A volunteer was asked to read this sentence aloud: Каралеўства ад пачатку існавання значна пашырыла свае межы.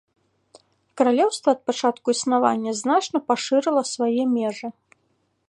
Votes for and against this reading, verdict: 3, 0, accepted